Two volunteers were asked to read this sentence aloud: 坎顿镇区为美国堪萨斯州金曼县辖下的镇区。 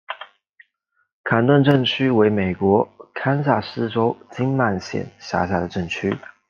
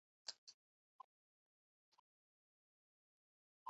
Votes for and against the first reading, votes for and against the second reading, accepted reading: 2, 0, 0, 2, first